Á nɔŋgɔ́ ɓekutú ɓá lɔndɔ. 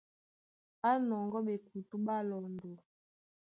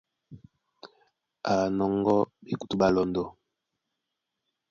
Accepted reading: first